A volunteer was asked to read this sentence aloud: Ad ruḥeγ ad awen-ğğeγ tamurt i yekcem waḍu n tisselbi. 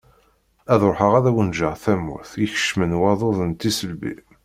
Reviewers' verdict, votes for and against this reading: accepted, 2, 0